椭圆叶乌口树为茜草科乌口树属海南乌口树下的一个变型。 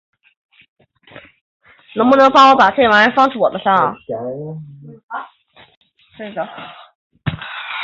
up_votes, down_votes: 1, 4